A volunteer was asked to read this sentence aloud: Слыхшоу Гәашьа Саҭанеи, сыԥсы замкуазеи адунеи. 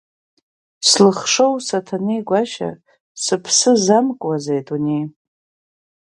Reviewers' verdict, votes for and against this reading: rejected, 4, 5